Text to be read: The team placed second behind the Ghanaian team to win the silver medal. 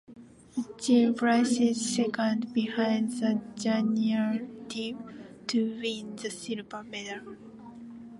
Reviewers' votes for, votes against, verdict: 0, 2, rejected